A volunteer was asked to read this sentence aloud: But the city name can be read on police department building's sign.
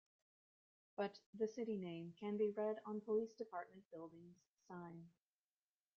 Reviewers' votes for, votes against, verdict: 2, 0, accepted